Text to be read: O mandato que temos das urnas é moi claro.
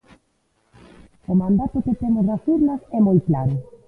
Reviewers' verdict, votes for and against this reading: rejected, 1, 2